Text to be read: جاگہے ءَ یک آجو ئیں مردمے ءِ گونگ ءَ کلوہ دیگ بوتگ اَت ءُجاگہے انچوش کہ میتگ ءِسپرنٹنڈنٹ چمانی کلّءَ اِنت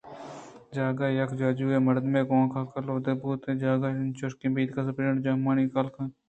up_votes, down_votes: 2, 0